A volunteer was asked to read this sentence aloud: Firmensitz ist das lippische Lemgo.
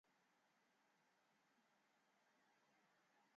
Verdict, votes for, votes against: rejected, 0, 2